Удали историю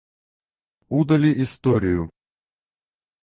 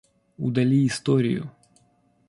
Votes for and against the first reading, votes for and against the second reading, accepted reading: 0, 4, 2, 0, second